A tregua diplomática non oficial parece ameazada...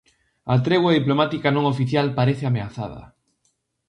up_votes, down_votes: 2, 0